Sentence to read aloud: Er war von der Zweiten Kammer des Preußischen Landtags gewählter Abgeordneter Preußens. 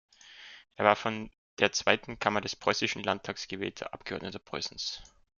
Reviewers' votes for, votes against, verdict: 2, 0, accepted